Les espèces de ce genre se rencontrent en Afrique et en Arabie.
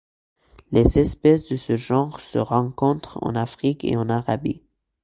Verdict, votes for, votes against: accepted, 2, 0